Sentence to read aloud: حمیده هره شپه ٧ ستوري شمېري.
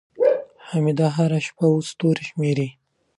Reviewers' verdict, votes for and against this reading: rejected, 0, 2